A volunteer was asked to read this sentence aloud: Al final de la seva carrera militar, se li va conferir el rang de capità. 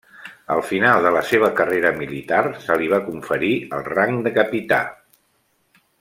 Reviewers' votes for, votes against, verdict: 3, 0, accepted